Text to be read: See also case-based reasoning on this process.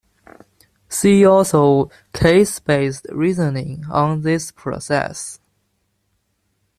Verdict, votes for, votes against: accepted, 2, 0